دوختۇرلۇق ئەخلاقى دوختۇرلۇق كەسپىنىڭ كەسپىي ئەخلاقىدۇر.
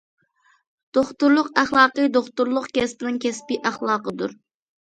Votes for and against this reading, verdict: 2, 0, accepted